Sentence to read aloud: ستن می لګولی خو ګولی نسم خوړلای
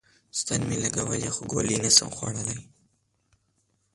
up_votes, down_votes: 0, 2